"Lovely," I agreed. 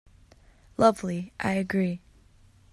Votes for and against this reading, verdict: 0, 2, rejected